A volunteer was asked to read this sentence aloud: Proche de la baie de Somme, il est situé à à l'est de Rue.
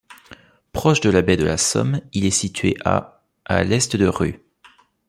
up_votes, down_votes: 2, 3